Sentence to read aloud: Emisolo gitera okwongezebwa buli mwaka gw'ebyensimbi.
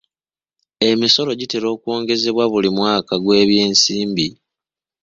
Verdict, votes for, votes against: accepted, 2, 0